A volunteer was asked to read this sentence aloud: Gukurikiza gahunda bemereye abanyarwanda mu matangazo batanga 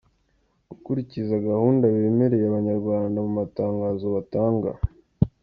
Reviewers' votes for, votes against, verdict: 2, 0, accepted